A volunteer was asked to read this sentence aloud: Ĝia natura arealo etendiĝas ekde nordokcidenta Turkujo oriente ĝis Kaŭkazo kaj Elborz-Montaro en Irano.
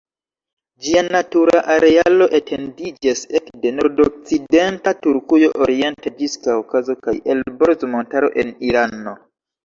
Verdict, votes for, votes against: rejected, 2, 3